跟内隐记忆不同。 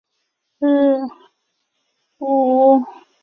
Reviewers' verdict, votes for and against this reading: rejected, 0, 2